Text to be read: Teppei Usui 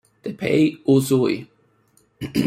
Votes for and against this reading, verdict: 2, 1, accepted